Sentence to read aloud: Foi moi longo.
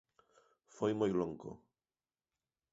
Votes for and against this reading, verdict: 2, 0, accepted